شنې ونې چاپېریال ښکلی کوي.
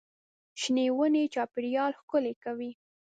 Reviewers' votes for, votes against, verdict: 2, 0, accepted